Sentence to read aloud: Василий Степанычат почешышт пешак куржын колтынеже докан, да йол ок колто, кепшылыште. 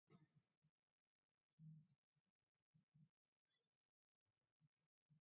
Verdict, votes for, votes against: rejected, 0, 2